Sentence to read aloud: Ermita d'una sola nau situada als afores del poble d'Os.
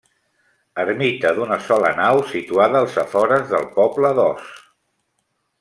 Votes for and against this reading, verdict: 3, 0, accepted